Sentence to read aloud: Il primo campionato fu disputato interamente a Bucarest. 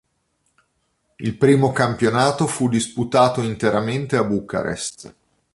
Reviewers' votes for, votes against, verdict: 2, 0, accepted